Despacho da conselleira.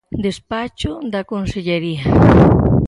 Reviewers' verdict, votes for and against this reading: rejected, 0, 4